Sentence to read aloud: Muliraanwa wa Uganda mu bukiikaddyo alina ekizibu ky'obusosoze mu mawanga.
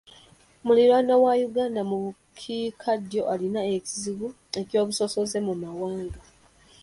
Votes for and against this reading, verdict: 1, 2, rejected